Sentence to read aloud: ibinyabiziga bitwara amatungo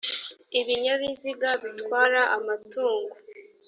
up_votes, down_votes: 1, 2